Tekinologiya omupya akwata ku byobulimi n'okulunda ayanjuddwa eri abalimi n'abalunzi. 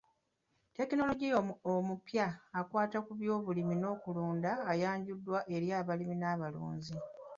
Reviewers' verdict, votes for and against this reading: rejected, 1, 2